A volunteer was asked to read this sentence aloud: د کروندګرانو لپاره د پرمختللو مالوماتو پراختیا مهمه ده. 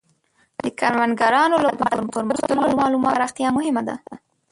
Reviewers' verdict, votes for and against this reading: rejected, 0, 2